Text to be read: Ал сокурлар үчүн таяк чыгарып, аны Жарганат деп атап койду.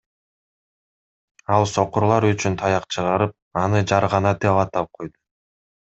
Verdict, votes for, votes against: rejected, 1, 2